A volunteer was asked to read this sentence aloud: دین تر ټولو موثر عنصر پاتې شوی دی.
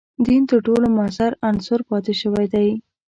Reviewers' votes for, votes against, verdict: 2, 0, accepted